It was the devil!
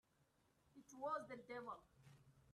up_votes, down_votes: 0, 2